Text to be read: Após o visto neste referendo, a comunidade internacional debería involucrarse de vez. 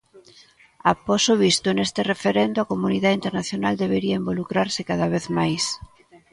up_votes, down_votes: 0, 2